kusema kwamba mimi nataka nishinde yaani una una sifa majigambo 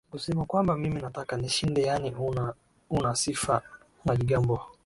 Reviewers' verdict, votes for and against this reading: accepted, 9, 3